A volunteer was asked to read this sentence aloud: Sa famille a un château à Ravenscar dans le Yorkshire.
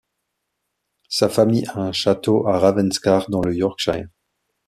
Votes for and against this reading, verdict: 1, 2, rejected